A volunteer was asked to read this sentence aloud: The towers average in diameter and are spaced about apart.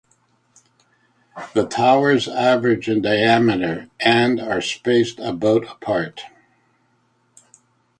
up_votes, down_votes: 2, 0